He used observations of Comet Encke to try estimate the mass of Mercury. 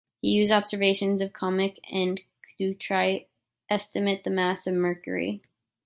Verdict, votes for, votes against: rejected, 0, 2